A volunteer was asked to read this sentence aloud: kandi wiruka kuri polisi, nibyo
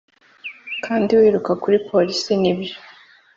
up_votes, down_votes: 3, 0